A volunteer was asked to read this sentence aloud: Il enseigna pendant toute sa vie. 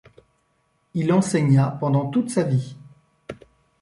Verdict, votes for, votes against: accepted, 3, 0